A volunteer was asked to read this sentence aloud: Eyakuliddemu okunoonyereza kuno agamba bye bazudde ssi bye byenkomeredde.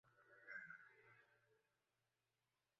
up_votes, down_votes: 0, 2